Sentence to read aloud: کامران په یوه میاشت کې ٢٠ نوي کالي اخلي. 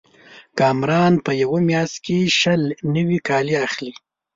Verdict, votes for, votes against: rejected, 0, 2